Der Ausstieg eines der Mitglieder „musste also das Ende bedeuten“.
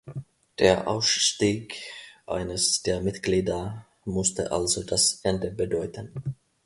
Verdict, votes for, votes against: accepted, 2, 0